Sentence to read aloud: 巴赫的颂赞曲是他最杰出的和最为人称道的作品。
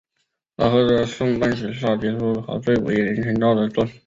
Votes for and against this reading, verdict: 0, 4, rejected